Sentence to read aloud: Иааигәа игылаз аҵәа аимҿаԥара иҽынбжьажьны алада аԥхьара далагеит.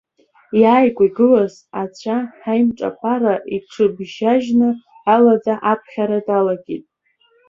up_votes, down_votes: 1, 2